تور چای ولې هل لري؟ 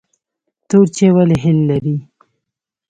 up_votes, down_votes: 0, 2